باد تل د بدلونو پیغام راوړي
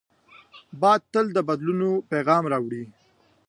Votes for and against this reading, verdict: 2, 0, accepted